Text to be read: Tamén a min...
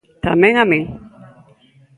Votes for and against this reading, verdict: 2, 0, accepted